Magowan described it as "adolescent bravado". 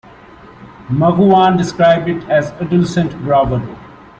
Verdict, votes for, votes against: rejected, 1, 2